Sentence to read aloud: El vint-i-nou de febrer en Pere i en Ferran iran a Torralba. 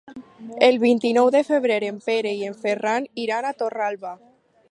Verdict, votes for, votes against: accepted, 4, 0